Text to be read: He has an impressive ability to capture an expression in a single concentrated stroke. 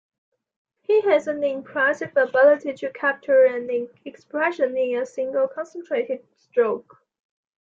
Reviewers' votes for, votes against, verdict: 0, 2, rejected